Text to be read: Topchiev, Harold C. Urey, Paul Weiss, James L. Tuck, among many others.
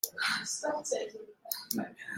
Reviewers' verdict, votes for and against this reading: rejected, 0, 2